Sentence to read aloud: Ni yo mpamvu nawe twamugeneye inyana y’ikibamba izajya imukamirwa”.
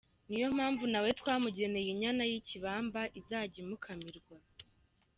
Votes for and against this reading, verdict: 2, 1, accepted